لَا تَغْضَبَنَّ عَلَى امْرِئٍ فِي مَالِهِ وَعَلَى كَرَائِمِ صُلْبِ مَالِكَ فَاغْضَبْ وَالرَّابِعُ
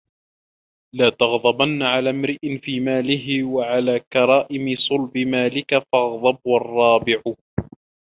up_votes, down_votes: 2, 0